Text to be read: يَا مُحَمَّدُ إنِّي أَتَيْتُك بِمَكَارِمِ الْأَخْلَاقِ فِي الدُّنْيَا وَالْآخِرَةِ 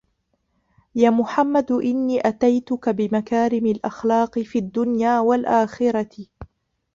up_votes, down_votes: 1, 2